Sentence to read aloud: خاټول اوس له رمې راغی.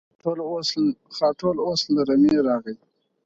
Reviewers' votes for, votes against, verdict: 4, 2, accepted